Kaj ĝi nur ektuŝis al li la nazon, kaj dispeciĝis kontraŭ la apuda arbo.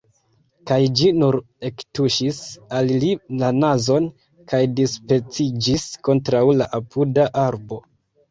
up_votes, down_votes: 0, 2